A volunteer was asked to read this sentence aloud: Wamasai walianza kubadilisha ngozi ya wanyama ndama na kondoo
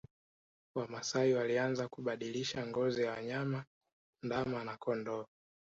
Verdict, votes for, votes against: accepted, 2, 1